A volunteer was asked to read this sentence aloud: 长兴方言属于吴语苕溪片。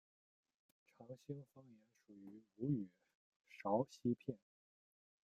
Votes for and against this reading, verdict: 0, 2, rejected